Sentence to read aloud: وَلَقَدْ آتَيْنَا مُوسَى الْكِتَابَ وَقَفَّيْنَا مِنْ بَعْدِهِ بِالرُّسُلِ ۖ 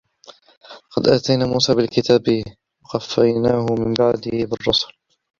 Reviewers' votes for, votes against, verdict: 0, 2, rejected